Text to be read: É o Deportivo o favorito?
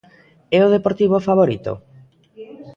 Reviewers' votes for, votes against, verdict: 1, 2, rejected